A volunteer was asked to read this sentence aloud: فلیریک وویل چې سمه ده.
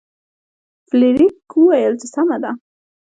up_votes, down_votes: 1, 2